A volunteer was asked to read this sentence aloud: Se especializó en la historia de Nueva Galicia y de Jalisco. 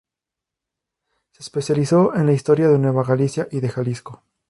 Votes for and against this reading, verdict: 2, 0, accepted